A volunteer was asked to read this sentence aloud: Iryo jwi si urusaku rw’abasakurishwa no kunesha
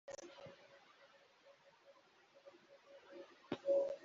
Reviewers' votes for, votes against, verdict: 0, 2, rejected